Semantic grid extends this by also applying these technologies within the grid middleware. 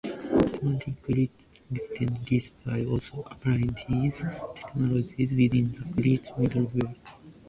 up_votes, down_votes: 0, 2